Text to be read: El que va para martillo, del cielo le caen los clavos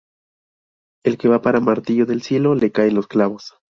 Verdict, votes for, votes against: rejected, 0, 2